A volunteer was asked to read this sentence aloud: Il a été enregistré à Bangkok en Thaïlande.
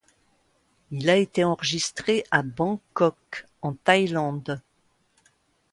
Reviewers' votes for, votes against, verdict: 2, 0, accepted